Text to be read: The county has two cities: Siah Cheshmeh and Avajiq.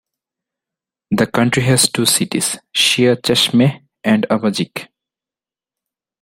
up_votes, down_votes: 2, 1